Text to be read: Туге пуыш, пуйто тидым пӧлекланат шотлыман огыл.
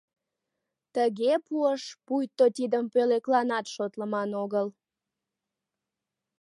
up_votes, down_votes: 1, 2